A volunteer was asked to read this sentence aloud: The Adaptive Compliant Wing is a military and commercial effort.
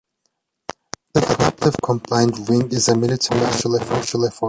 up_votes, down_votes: 1, 2